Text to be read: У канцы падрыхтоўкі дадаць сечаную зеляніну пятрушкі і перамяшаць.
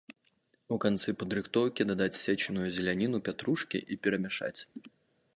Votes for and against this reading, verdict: 2, 3, rejected